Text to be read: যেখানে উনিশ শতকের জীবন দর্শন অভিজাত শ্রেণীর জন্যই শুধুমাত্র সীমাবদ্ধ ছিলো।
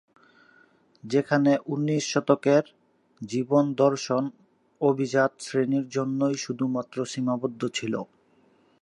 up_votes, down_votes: 0, 2